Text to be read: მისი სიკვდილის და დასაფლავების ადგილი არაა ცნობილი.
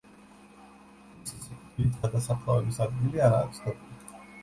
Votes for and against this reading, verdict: 0, 2, rejected